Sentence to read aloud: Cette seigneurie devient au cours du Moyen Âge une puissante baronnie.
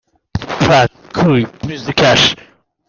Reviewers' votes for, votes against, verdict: 1, 2, rejected